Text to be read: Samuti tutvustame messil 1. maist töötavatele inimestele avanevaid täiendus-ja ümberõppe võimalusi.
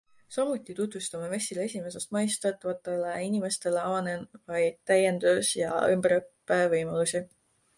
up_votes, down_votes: 0, 2